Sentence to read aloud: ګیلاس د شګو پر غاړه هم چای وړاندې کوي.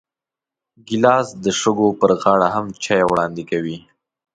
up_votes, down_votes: 2, 0